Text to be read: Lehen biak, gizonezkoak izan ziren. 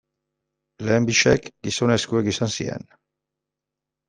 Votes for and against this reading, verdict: 1, 2, rejected